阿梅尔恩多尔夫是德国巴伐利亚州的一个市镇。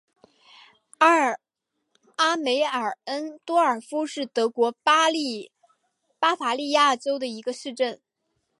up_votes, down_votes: 1, 2